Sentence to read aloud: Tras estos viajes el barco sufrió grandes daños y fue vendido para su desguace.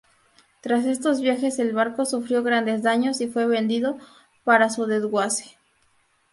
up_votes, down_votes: 2, 0